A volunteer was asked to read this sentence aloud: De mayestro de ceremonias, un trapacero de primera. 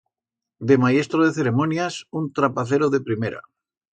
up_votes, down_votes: 2, 0